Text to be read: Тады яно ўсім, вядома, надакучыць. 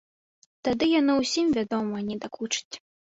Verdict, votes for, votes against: rejected, 0, 2